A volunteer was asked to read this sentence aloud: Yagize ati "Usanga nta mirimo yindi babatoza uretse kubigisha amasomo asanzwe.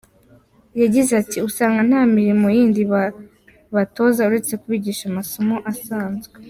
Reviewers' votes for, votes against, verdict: 2, 1, accepted